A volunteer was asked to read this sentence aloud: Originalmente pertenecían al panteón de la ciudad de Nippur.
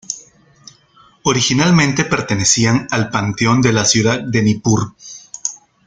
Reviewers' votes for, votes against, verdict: 2, 0, accepted